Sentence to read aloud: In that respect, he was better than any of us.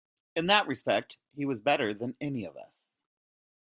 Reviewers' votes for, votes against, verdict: 1, 2, rejected